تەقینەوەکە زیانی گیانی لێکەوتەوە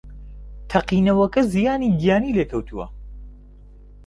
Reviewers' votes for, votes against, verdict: 1, 2, rejected